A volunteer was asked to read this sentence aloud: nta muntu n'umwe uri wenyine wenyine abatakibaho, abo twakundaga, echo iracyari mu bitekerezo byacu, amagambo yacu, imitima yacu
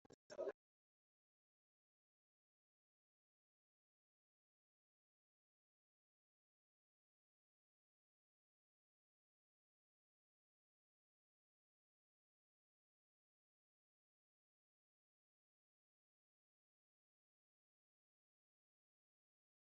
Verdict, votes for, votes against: rejected, 1, 2